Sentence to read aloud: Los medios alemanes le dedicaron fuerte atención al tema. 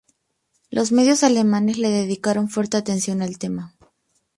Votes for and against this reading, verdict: 2, 0, accepted